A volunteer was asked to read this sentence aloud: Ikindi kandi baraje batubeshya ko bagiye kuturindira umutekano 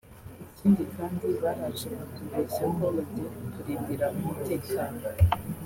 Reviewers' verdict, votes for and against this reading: accepted, 2, 1